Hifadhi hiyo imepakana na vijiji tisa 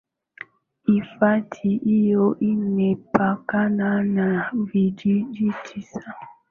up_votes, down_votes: 6, 5